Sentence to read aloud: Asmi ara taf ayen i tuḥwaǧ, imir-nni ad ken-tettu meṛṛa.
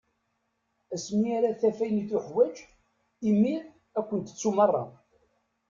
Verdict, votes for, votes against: rejected, 0, 2